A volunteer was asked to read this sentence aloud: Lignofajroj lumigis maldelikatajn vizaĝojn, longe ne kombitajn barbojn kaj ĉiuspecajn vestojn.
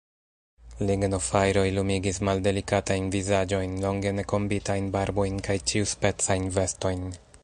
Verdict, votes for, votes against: accepted, 2, 0